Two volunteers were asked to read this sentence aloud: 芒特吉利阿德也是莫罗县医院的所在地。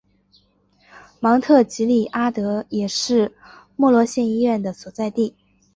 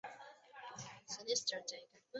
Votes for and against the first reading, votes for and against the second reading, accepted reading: 2, 0, 1, 2, first